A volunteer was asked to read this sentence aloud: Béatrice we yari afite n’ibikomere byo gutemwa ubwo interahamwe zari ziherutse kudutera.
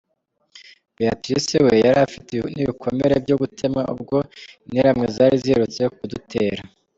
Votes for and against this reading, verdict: 2, 1, accepted